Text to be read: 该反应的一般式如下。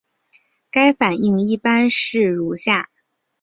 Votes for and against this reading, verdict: 3, 0, accepted